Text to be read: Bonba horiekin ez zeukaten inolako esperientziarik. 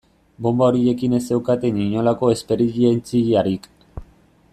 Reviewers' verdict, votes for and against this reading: rejected, 1, 2